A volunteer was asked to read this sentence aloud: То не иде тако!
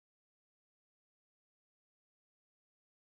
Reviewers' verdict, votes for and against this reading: rejected, 0, 2